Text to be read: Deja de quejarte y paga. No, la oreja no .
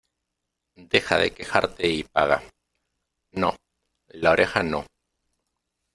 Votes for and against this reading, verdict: 2, 0, accepted